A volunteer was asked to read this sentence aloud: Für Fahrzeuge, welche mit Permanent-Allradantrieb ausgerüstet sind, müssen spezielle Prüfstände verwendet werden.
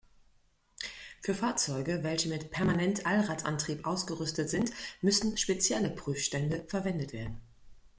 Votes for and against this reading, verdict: 2, 0, accepted